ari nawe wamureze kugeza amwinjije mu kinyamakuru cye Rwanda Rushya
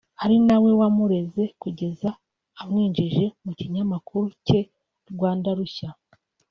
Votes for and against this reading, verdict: 2, 0, accepted